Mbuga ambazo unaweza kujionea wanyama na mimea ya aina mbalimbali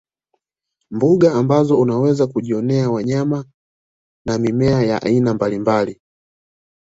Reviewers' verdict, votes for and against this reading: accepted, 2, 0